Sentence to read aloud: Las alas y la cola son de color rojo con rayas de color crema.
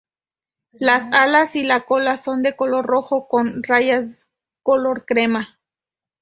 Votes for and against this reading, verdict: 2, 2, rejected